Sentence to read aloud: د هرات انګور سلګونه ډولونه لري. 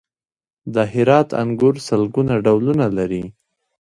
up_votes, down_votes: 2, 1